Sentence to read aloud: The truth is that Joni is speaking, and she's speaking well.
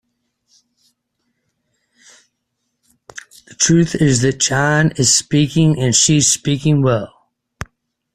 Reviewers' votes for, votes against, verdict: 2, 1, accepted